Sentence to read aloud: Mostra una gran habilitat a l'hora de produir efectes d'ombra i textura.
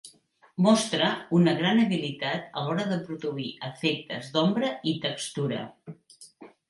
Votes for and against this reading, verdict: 4, 0, accepted